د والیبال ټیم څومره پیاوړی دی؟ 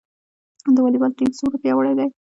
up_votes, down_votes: 1, 2